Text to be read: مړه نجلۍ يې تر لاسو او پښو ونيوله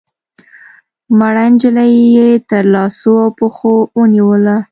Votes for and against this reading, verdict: 2, 0, accepted